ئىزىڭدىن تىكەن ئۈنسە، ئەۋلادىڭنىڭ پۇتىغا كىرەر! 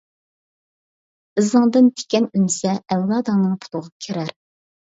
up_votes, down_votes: 3, 0